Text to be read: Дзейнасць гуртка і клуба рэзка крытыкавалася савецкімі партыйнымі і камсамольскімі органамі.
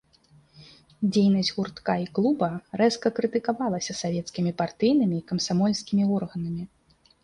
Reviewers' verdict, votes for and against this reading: accepted, 2, 0